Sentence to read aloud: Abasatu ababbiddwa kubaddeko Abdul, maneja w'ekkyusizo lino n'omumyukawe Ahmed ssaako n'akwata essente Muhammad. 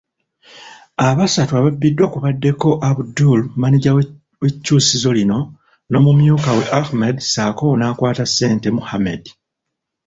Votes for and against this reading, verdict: 1, 2, rejected